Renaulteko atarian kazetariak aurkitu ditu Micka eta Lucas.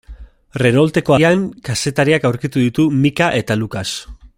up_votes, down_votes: 1, 2